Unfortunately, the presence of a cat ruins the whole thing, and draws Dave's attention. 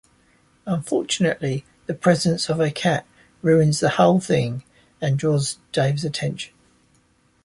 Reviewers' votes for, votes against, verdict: 2, 0, accepted